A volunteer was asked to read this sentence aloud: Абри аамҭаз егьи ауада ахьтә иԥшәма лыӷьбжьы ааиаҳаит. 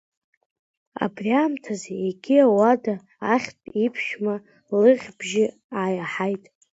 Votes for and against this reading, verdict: 0, 2, rejected